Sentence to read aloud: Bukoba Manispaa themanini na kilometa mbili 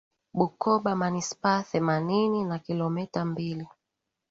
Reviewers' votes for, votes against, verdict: 4, 0, accepted